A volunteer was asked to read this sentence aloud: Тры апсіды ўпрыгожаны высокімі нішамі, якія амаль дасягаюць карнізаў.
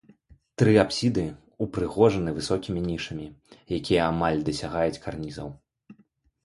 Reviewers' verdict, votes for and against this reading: accepted, 2, 1